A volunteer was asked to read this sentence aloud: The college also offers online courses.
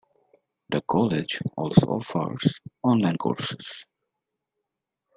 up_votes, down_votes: 2, 0